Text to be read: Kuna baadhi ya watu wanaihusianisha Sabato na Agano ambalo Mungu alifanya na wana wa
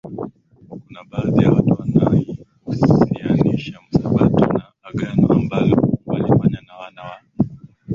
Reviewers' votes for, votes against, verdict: 1, 2, rejected